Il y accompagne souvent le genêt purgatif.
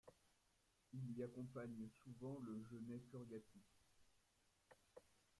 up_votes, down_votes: 0, 2